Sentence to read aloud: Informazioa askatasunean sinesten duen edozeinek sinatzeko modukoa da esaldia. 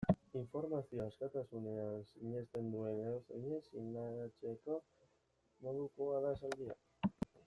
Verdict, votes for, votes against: rejected, 0, 2